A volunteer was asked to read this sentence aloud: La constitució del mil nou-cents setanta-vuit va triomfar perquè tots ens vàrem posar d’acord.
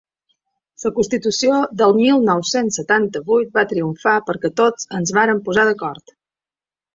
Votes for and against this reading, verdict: 1, 2, rejected